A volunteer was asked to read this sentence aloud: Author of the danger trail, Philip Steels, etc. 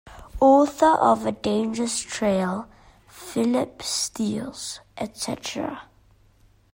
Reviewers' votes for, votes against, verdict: 0, 2, rejected